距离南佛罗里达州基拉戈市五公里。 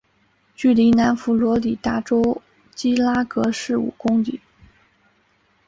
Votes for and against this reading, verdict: 3, 1, accepted